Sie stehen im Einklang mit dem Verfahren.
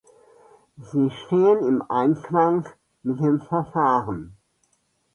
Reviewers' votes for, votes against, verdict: 1, 2, rejected